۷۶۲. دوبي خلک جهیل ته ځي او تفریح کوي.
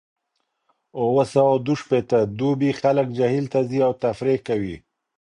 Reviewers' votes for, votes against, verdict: 0, 2, rejected